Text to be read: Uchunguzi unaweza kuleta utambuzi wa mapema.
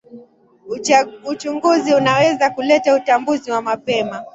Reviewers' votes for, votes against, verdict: 0, 2, rejected